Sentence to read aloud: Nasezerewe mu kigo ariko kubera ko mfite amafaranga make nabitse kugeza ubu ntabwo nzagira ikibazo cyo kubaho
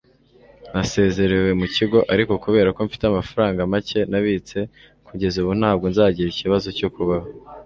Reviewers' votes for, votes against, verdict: 2, 0, accepted